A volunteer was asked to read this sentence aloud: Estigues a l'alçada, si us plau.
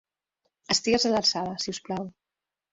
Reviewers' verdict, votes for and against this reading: accepted, 4, 1